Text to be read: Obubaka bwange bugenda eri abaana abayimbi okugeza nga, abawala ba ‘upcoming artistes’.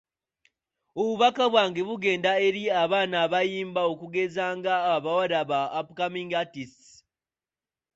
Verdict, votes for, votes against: rejected, 1, 2